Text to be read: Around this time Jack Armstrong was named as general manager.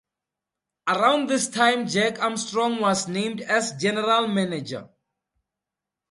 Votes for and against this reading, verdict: 4, 0, accepted